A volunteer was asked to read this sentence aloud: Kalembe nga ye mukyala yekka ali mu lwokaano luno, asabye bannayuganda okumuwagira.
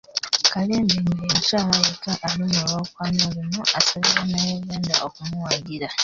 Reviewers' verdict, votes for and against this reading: rejected, 1, 2